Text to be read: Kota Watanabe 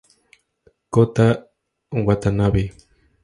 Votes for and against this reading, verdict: 2, 0, accepted